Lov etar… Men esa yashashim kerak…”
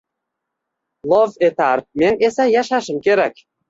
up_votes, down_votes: 2, 0